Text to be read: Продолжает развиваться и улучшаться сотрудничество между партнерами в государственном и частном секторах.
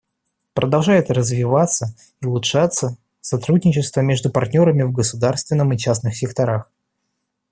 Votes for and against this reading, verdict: 2, 1, accepted